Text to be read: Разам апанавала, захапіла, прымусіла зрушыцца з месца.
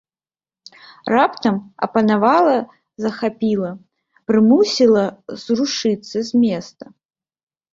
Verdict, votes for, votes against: rejected, 0, 2